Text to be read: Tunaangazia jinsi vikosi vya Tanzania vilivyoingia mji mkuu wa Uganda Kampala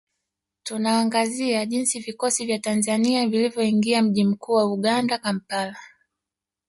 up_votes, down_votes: 1, 3